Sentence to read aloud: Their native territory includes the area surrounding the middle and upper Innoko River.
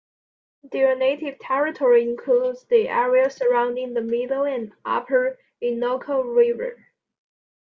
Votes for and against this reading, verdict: 2, 0, accepted